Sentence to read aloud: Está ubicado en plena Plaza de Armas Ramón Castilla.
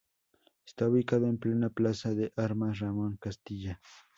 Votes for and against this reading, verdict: 2, 0, accepted